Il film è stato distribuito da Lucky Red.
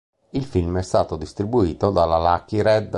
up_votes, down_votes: 2, 3